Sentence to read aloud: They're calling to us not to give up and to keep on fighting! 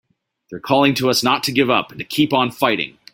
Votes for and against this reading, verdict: 2, 0, accepted